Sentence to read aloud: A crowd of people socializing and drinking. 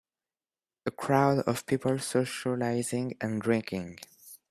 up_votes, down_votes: 3, 0